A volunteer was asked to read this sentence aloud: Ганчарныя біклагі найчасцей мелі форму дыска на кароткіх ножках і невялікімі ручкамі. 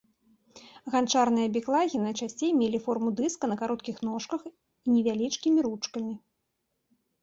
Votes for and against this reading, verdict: 0, 2, rejected